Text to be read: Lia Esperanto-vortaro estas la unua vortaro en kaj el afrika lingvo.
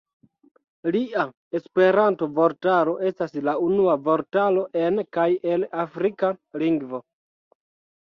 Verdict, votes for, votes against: accepted, 2, 1